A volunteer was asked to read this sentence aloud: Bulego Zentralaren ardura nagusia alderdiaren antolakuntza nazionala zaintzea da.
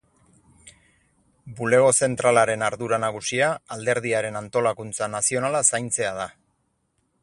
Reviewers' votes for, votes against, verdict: 4, 0, accepted